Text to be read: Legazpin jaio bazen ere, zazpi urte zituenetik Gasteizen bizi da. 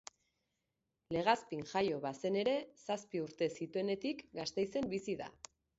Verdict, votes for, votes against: accepted, 2, 0